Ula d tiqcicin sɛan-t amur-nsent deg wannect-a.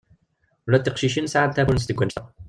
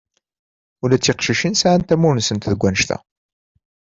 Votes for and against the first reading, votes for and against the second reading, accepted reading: 1, 2, 2, 0, second